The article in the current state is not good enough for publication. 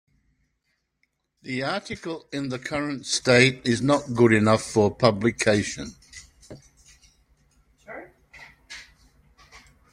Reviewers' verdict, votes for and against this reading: rejected, 0, 2